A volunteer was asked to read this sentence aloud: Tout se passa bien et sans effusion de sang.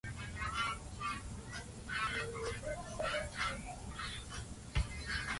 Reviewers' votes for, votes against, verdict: 0, 2, rejected